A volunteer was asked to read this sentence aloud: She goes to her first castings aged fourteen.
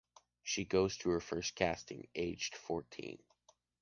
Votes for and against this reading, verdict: 0, 2, rejected